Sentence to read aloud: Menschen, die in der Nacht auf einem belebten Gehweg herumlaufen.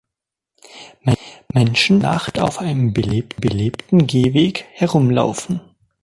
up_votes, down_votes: 0, 2